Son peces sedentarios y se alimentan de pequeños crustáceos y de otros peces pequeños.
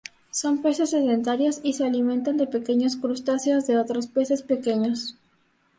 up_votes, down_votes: 0, 2